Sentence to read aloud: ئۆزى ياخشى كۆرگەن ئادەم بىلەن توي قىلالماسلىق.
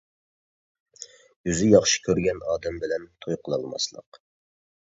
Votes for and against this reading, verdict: 2, 0, accepted